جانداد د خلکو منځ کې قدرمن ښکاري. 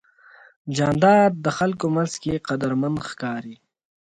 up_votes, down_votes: 2, 0